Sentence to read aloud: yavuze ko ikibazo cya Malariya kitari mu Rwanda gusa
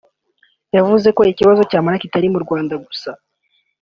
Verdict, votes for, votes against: accepted, 2, 1